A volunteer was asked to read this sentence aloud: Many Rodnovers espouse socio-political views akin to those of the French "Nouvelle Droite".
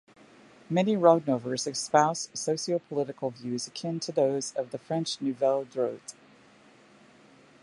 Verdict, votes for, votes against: accepted, 2, 0